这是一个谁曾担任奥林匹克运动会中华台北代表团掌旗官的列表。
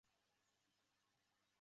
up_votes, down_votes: 1, 2